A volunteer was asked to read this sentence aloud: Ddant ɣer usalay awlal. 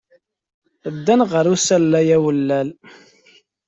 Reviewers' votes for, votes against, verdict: 0, 2, rejected